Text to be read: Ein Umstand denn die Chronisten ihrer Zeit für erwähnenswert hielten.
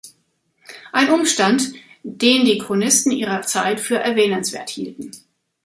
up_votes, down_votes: 0, 2